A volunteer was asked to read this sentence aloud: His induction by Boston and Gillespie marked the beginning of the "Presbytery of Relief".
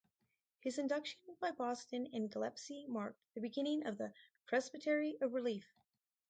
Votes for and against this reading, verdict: 0, 4, rejected